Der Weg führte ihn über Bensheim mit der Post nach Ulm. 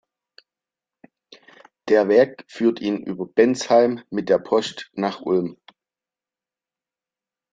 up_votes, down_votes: 0, 2